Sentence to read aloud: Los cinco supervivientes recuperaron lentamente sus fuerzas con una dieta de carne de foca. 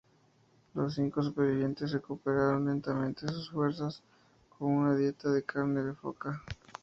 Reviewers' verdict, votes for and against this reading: accepted, 2, 0